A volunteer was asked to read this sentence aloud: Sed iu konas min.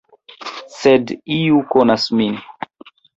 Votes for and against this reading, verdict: 2, 0, accepted